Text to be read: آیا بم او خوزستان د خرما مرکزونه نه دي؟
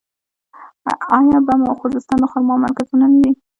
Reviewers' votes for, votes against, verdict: 1, 2, rejected